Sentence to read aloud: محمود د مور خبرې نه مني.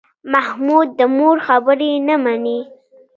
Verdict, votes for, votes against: rejected, 1, 2